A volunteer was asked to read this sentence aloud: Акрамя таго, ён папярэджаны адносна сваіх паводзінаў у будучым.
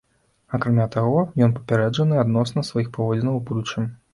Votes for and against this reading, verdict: 2, 0, accepted